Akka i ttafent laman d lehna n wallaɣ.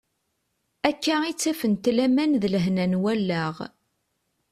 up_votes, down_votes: 2, 0